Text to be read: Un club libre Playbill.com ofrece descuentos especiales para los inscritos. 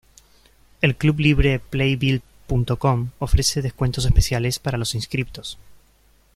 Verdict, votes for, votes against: rejected, 1, 2